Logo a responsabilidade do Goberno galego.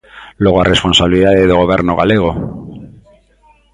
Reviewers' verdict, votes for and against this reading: accepted, 2, 0